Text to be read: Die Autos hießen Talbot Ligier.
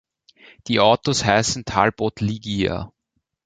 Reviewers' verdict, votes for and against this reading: rejected, 1, 2